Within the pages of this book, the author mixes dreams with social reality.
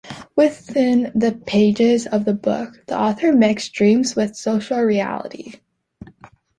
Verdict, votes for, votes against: rejected, 1, 2